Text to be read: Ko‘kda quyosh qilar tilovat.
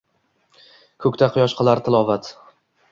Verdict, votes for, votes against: accepted, 2, 0